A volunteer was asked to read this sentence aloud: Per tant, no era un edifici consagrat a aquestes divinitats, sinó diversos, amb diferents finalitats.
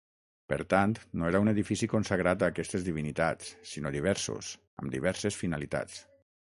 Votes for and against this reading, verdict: 0, 6, rejected